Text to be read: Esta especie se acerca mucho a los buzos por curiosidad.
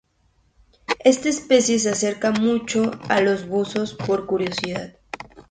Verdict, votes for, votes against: accepted, 2, 0